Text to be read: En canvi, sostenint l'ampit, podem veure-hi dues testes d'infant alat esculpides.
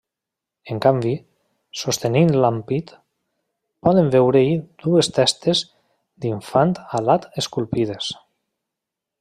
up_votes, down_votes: 1, 2